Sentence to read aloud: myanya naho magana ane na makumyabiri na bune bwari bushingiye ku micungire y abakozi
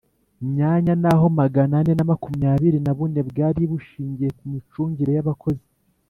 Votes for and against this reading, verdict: 3, 0, accepted